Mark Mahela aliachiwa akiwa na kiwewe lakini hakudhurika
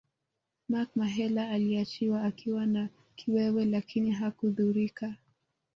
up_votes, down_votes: 1, 2